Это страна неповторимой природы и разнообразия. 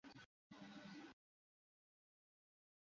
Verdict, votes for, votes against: rejected, 0, 2